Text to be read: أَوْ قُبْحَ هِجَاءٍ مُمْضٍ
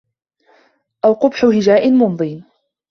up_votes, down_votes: 2, 1